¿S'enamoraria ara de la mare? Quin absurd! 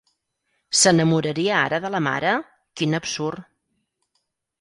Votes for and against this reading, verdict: 4, 0, accepted